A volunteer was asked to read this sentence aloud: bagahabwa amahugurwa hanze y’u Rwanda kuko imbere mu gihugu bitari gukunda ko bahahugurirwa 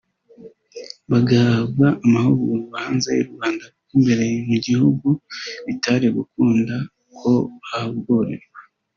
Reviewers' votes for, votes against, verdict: 1, 2, rejected